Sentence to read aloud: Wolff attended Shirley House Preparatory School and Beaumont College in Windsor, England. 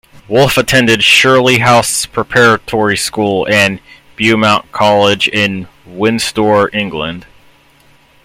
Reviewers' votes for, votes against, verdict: 2, 1, accepted